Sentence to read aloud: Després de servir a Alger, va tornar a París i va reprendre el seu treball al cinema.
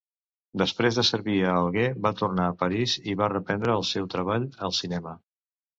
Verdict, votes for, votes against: rejected, 0, 2